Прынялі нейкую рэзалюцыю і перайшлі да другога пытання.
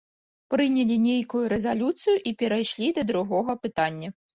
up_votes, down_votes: 2, 1